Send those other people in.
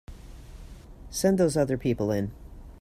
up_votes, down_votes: 2, 0